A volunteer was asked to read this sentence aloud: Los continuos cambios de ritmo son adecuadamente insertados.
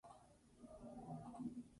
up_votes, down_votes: 0, 4